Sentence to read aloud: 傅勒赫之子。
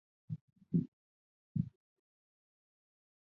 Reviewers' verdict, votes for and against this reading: rejected, 0, 4